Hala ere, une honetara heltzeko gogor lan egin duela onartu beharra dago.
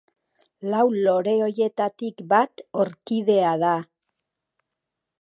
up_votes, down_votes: 0, 2